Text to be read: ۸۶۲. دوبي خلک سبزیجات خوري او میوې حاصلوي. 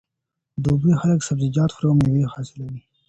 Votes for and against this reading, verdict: 0, 2, rejected